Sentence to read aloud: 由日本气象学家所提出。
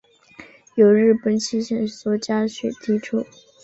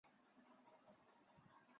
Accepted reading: first